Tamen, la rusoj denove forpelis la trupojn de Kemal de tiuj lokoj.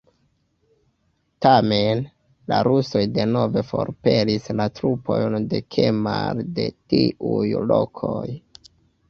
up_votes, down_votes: 2, 1